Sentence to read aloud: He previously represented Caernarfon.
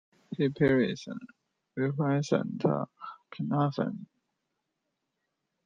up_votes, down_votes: 0, 2